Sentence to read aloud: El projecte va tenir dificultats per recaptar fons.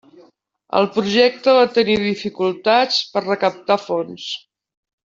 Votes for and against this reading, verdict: 3, 0, accepted